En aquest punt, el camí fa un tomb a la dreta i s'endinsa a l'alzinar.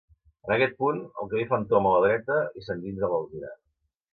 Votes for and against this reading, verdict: 1, 2, rejected